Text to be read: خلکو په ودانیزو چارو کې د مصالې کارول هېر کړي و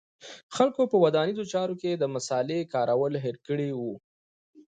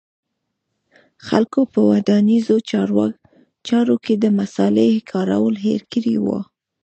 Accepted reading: first